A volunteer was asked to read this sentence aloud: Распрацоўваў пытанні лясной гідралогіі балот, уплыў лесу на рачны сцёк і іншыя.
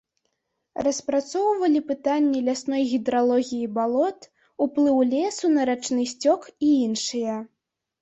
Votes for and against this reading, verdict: 0, 2, rejected